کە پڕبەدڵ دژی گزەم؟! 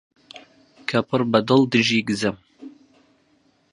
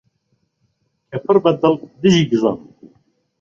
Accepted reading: second